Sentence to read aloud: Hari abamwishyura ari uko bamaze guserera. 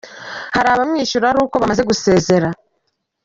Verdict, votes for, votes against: rejected, 0, 2